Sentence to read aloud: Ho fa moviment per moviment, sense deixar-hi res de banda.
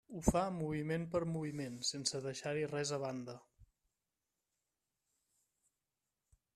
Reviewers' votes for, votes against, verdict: 0, 2, rejected